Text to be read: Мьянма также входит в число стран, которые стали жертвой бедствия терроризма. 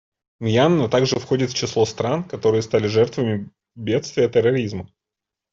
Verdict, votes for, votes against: rejected, 0, 2